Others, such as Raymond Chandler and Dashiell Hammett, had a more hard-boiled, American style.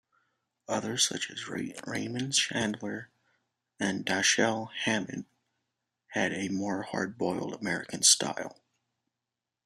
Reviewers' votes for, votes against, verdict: 2, 0, accepted